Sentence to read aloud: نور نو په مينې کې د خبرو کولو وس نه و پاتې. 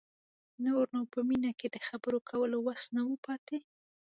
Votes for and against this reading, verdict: 2, 0, accepted